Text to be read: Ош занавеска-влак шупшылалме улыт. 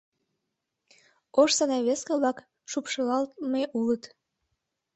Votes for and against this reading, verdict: 0, 2, rejected